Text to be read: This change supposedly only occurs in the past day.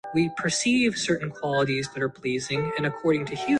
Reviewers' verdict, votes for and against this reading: rejected, 0, 2